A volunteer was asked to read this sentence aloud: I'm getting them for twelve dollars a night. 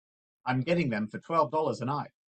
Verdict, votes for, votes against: accepted, 2, 0